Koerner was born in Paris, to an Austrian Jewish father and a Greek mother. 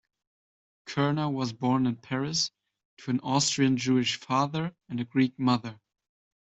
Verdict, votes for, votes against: accepted, 2, 0